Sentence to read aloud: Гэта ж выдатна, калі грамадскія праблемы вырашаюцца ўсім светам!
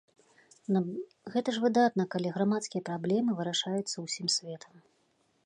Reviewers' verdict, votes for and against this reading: accepted, 2, 0